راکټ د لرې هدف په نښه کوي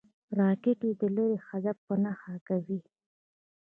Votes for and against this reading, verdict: 1, 2, rejected